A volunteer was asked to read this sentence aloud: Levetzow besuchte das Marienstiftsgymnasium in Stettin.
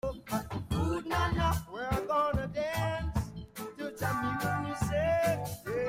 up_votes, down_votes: 0, 2